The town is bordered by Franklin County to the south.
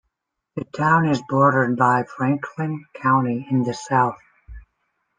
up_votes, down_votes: 0, 2